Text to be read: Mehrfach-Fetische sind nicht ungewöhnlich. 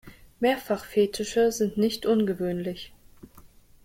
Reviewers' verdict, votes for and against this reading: accepted, 2, 1